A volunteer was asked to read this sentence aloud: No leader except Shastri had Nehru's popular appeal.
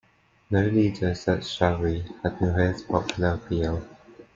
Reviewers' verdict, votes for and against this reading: rejected, 0, 2